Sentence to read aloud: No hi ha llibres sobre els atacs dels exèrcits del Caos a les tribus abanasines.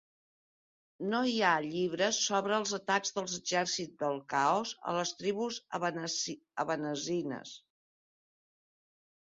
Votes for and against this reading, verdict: 0, 2, rejected